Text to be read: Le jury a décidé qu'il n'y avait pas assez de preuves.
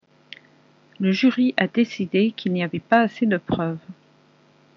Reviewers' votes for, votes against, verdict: 0, 2, rejected